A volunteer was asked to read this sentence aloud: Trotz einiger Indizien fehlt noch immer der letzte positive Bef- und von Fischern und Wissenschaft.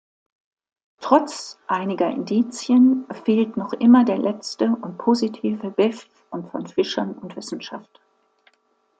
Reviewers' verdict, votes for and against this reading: accepted, 2, 0